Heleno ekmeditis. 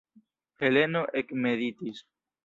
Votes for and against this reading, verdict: 1, 2, rejected